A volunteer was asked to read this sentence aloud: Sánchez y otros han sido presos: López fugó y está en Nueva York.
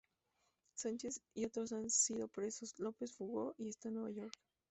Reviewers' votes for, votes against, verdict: 0, 4, rejected